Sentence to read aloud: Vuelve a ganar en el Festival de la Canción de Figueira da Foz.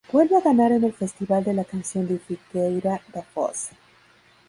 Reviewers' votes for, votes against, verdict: 0, 2, rejected